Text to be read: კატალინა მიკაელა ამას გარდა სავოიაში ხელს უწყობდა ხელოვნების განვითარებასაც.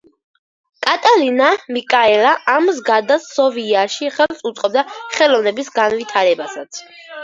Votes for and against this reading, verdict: 0, 2, rejected